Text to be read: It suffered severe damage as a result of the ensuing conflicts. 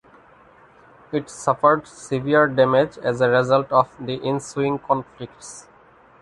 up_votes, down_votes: 2, 0